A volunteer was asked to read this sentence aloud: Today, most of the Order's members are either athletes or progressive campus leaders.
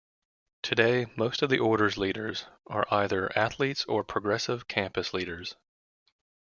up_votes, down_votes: 2, 0